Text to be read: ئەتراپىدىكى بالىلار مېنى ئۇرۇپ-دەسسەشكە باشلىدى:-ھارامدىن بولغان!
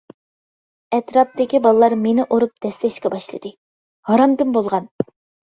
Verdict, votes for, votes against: accepted, 2, 1